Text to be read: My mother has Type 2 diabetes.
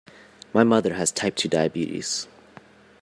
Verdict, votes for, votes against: rejected, 0, 2